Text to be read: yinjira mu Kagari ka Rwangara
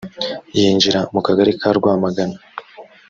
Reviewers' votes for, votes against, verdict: 0, 2, rejected